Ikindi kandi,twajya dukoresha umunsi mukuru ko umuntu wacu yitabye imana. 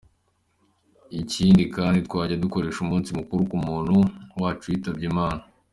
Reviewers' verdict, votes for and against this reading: accepted, 2, 0